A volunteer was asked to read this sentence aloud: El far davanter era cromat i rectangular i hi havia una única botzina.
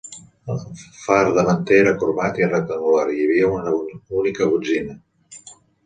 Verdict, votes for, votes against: rejected, 0, 2